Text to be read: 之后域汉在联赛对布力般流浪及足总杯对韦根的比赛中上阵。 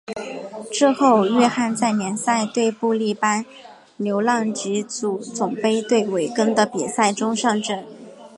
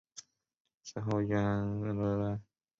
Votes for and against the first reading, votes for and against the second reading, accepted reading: 2, 0, 0, 2, first